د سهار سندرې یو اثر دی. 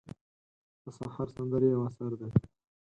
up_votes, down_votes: 4, 0